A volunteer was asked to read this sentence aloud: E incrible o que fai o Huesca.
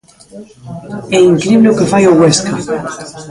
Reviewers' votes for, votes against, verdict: 1, 2, rejected